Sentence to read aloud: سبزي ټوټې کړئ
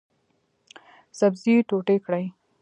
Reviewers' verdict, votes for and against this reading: accepted, 2, 1